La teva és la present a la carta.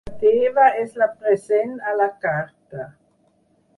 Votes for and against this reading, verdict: 2, 4, rejected